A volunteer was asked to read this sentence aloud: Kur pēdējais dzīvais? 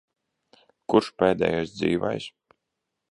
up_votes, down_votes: 1, 2